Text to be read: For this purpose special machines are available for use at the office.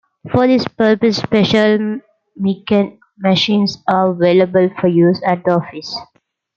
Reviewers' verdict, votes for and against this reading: rejected, 0, 2